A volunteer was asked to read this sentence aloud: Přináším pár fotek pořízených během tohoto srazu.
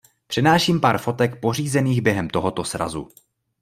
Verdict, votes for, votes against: accepted, 2, 0